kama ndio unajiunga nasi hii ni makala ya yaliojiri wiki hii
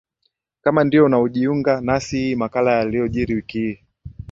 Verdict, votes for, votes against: accepted, 2, 0